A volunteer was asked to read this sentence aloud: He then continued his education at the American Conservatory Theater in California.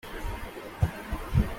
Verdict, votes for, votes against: rejected, 0, 2